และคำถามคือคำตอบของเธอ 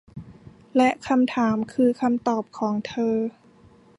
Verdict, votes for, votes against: accepted, 2, 0